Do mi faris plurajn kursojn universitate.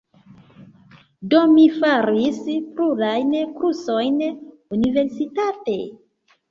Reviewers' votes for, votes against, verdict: 1, 2, rejected